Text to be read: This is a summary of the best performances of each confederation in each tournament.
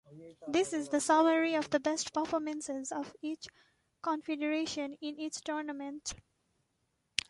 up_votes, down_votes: 0, 2